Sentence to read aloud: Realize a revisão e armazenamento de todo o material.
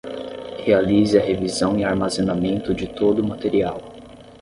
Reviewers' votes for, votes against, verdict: 5, 5, rejected